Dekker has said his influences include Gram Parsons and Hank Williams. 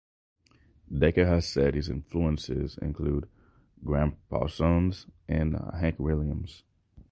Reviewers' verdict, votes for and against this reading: accepted, 4, 0